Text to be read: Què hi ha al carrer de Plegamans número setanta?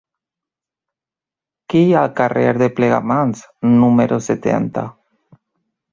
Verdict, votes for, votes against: rejected, 1, 2